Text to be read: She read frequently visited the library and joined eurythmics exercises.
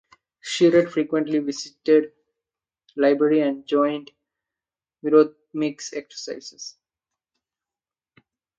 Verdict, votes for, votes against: accepted, 2, 1